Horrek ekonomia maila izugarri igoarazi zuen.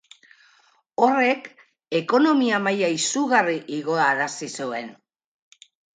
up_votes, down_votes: 2, 4